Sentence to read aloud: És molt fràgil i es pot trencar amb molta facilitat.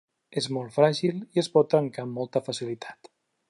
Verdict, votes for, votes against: accepted, 3, 0